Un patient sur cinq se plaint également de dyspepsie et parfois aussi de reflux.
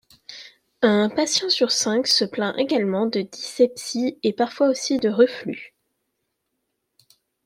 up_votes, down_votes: 1, 2